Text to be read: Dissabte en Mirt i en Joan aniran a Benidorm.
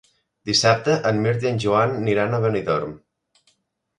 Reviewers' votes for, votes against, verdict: 3, 1, accepted